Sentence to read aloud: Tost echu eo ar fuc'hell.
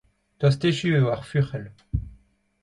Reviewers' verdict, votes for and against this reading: accepted, 2, 0